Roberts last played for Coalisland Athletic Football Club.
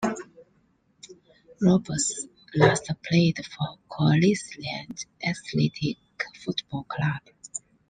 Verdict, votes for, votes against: accepted, 2, 0